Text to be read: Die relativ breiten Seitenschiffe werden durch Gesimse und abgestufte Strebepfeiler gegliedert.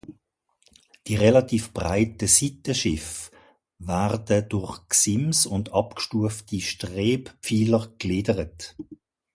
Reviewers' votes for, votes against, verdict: 0, 2, rejected